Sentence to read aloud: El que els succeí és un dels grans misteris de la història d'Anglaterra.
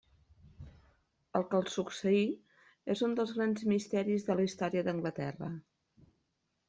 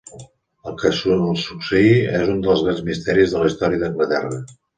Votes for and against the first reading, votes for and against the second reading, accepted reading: 3, 0, 0, 2, first